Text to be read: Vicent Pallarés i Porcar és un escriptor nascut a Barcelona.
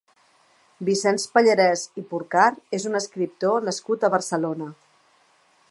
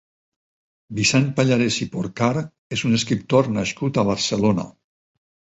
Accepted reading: second